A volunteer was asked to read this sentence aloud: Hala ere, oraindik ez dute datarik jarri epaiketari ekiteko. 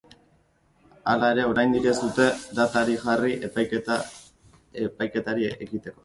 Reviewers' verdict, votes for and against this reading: rejected, 1, 3